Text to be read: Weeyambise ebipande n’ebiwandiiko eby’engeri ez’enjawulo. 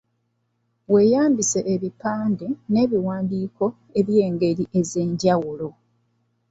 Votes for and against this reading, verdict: 2, 0, accepted